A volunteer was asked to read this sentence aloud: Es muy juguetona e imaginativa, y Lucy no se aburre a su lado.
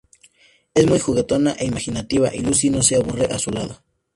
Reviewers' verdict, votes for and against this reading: accepted, 2, 0